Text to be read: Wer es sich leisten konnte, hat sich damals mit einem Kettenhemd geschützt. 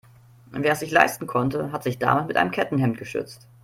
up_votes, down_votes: 1, 2